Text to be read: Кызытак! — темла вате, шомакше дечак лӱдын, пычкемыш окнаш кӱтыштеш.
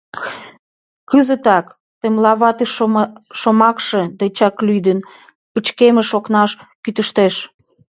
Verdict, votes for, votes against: rejected, 1, 2